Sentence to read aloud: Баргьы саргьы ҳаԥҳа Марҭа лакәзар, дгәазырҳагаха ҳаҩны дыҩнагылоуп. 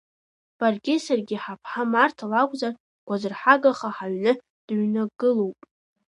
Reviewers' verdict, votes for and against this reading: rejected, 1, 2